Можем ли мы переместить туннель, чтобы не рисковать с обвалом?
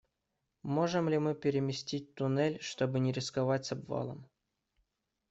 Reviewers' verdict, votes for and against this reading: accepted, 2, 0